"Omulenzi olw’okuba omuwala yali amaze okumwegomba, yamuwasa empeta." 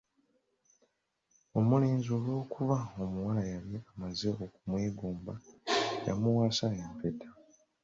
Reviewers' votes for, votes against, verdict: 2, 0, accepted